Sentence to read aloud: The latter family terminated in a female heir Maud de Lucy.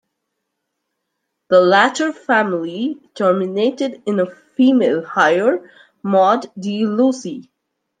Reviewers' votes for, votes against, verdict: 2, 1, accepted